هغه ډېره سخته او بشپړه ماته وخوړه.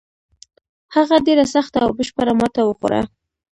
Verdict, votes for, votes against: accepted, 2, 0